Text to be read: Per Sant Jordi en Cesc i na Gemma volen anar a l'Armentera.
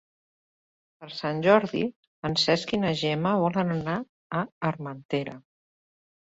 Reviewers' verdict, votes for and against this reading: rejected, 0, 2